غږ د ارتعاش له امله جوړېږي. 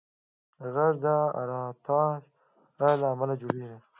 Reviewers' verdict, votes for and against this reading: rejected, 1, 2